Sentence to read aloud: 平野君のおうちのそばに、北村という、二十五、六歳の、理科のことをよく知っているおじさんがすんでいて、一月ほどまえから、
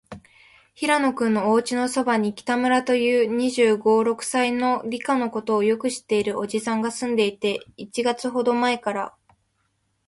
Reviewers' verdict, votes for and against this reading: rejected, 1, 2